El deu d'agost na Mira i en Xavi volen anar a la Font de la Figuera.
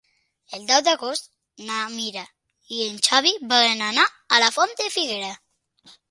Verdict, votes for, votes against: rejected, 1, 2